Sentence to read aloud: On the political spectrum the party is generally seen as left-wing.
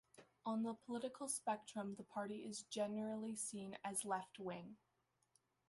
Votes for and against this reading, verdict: 1, 2, rejected